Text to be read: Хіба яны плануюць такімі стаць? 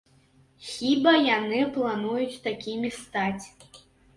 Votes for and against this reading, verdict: 2, 0, accepted